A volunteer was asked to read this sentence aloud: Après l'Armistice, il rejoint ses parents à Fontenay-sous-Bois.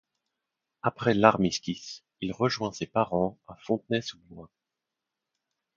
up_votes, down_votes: 0, 2